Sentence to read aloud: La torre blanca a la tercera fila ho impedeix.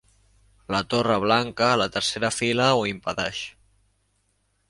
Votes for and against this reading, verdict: 2, 0, accepted